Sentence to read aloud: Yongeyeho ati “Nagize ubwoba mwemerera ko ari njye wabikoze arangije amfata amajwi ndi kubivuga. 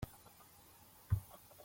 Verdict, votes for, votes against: rejected, 0, 2